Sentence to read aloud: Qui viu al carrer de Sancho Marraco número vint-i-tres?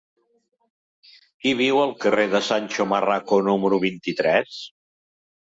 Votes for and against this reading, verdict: 3, 0, accepted